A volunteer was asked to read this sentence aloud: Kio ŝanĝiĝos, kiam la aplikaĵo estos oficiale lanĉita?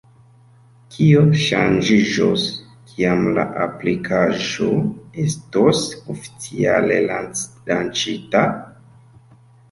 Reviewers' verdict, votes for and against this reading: rejected, 1, 3